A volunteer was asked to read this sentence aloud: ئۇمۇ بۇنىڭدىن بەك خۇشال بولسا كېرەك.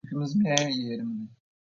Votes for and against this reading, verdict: 0, 2, rejected